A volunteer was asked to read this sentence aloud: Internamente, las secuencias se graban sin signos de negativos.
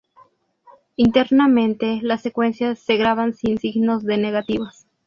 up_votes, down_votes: 2, 0